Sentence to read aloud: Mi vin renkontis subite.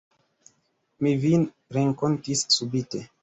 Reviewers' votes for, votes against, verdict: 3, 0, accepted